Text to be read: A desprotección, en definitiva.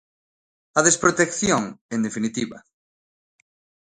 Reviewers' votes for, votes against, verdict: 2, 0, accepted